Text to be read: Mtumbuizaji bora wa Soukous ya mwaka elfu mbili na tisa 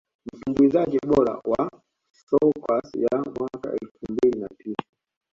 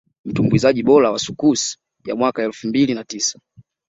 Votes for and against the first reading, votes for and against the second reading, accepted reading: 0, 2, 2, 0, second